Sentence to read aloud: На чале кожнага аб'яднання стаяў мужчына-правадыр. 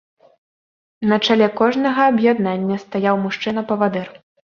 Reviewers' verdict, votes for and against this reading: rejected, 1, 2